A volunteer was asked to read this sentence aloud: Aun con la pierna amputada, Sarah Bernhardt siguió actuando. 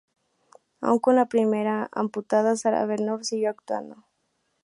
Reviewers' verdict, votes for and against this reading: rejected, 0, 2